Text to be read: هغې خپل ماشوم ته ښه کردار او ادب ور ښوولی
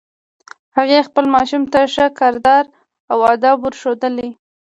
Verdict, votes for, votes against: accepted, 2, 0